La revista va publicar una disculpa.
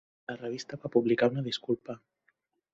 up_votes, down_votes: 3, 0